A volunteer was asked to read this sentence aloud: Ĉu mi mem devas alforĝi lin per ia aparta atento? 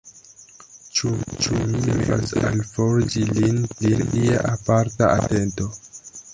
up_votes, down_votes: 1, 2